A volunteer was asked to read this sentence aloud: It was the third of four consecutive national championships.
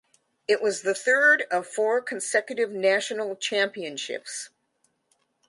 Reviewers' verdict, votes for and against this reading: accepted, 2, 0